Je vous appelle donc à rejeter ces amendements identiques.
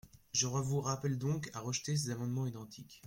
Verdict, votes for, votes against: rejected, 0, 2